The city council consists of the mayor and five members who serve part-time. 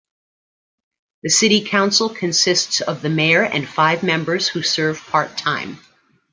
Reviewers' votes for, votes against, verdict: 2, 1, accepted